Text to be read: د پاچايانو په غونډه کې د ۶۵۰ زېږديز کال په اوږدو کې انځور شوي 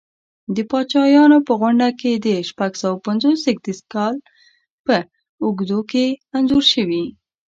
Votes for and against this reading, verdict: 0, 2, rejected